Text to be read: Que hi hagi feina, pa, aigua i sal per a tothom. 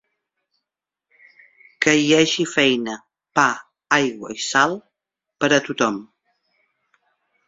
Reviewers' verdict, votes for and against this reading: accepted, 5, 0